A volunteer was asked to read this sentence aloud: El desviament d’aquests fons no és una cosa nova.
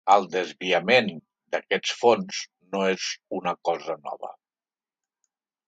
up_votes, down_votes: 3, 0